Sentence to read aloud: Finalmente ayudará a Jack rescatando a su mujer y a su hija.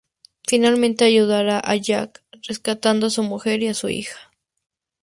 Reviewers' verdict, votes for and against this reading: accepted, 4, 0